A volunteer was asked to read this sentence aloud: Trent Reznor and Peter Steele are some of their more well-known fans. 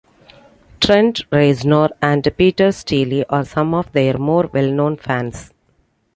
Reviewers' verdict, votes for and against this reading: accepted, 2, 0